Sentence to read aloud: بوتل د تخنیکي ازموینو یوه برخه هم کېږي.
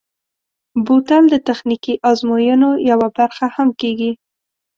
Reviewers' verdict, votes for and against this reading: accepted, 2, 0